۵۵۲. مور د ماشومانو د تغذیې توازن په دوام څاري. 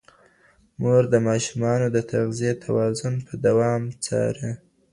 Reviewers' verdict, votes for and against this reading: rejected, 0, 2